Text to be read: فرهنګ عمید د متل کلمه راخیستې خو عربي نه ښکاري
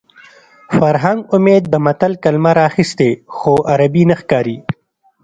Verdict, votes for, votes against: accepted, 2, 1